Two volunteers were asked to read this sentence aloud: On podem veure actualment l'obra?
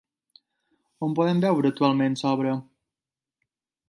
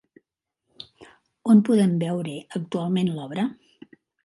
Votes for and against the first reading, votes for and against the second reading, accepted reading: 0, 2, 3, 0, second